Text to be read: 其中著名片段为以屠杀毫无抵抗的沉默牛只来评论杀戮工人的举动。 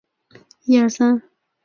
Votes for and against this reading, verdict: 1, 2, rejected